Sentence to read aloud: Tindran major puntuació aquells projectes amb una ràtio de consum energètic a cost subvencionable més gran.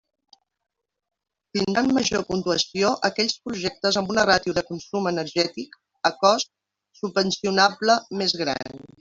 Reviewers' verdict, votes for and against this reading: rejected, 0, 2